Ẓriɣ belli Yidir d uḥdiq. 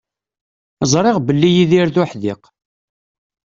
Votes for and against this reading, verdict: 2, 0, accepted